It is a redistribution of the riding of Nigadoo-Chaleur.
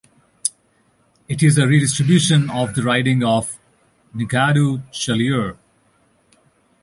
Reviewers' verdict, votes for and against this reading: accepted, 2, 0